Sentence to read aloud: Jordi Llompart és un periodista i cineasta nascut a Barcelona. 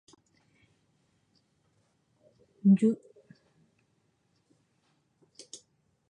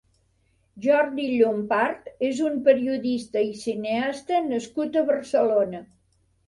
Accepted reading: second